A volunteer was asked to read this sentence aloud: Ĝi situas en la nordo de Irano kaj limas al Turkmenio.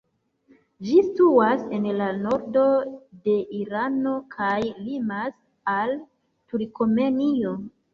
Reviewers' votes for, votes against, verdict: 0, 2, rejected